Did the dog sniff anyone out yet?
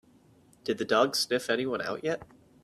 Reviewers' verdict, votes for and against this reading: accepted, 4, 0